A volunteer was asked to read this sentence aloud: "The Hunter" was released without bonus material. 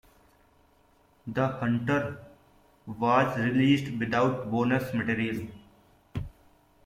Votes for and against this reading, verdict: 2, 0, accepted